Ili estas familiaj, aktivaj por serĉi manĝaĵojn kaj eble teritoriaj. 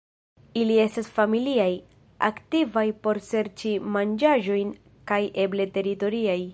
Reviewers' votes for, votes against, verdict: 2, 3, rejected